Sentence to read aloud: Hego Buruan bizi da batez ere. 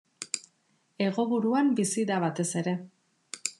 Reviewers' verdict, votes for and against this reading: accepted, 2, 0